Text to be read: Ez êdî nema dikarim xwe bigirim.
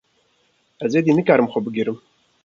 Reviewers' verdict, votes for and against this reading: rejected, 1, 2